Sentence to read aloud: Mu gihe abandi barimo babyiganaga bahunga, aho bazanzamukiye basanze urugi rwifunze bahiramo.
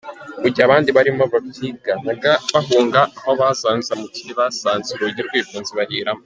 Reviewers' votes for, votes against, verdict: 3, 1, accepted